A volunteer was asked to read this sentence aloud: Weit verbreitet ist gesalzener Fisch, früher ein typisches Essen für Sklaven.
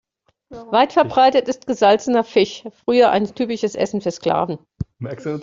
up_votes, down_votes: 1, 2